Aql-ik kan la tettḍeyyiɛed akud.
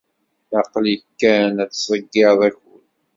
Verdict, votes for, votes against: rejected, 1, 2